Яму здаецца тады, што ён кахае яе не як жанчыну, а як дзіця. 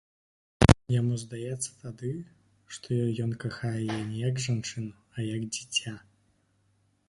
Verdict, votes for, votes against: accepted, 2, 0